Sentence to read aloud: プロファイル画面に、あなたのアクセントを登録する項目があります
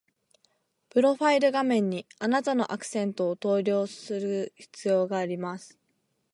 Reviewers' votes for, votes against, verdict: 1, 2, rejected